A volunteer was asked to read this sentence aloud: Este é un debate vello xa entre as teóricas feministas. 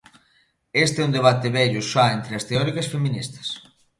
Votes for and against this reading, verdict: 2, 0, accepted